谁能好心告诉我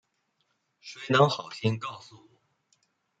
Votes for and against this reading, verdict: 1, 2, rejected